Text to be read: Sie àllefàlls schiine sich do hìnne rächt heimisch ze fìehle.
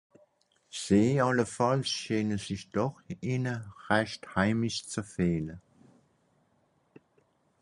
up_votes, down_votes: 0, 4